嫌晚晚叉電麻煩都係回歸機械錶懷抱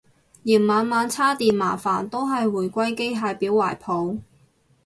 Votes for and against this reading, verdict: 2, 0, accepted